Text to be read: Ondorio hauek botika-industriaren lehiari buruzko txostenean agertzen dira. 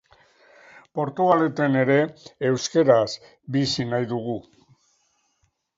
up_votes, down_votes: 0, 2